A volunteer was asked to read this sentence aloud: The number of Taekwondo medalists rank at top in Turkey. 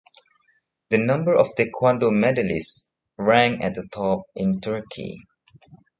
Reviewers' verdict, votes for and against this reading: rejected, 2, 3